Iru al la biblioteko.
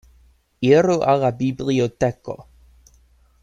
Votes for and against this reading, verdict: 2, 0, accepted